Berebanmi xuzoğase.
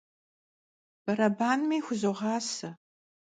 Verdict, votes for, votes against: accepted, 2, 0